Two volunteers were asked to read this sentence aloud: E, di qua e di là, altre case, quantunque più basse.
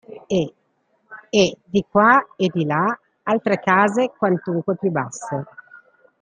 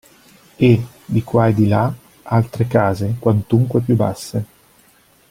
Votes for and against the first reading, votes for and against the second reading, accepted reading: 0, 2, 2, 0, second